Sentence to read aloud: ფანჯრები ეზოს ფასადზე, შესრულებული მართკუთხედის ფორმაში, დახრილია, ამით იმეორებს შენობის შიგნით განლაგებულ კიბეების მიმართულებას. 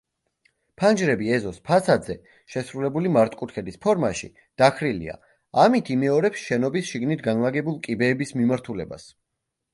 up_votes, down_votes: 2, 1